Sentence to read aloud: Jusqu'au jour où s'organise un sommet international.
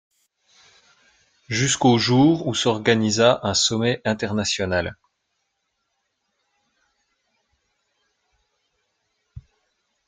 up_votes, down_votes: 0, 2